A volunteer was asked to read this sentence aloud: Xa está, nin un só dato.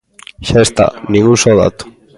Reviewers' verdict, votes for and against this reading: accepted, 2, 1